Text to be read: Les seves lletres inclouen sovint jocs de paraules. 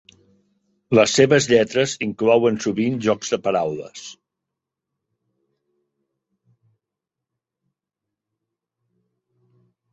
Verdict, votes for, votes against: accepted, 3, 0